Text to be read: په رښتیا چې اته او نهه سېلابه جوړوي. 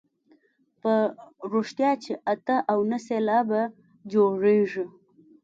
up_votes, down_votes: 2, 0